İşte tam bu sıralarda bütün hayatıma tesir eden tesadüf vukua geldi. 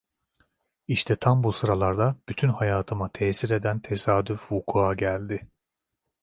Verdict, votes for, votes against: accepted, 2, 0